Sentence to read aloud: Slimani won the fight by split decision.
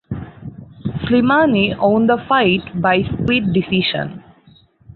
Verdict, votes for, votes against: rejected, 0, 4